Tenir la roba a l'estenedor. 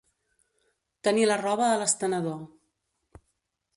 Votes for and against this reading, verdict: 2, 0, accepted